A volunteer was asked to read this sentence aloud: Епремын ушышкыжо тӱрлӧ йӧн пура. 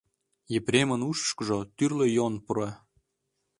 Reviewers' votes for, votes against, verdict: 0, 2, rejected